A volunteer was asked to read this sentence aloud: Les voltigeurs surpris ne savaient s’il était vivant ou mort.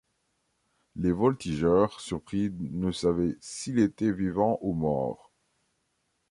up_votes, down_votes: 2, 0